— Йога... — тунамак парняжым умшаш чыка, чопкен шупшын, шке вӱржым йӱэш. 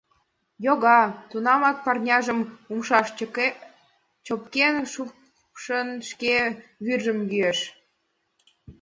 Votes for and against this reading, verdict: 0, 2, rejected